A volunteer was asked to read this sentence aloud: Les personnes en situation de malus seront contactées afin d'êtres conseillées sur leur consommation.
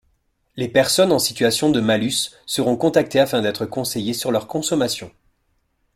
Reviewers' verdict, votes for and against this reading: accepted, 2, 0